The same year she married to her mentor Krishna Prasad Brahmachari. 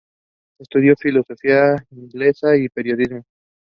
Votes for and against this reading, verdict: 0, 2, rejected